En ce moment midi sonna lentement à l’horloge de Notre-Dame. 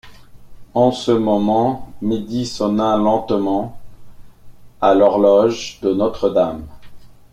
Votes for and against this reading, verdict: 2, 0, accepted